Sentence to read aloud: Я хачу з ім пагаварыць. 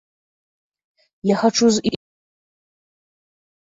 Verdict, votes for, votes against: rejected, 0, 2